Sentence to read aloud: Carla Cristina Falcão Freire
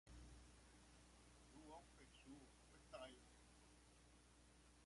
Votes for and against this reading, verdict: 0, 2, rejected